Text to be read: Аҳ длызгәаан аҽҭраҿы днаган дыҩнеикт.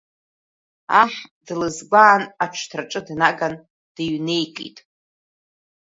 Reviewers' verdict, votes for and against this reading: accepted, 2, 0